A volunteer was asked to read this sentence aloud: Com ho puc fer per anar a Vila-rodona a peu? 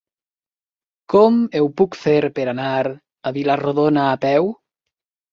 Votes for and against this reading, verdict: 1, 2, rejected